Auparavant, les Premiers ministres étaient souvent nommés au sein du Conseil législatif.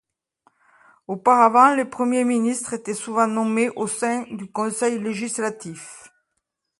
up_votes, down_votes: 2, 0